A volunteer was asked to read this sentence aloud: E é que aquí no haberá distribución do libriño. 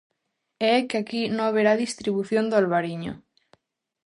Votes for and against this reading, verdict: 0, 2, rejected